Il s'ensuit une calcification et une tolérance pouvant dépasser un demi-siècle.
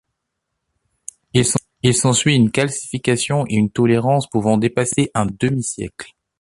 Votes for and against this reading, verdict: 0, 2, rejected